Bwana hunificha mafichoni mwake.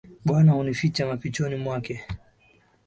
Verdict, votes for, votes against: rejected, 2, 3